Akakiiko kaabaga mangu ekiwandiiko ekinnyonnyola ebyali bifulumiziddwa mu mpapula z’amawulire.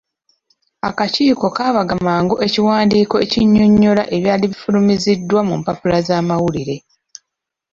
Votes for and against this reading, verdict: 1, 2, rejected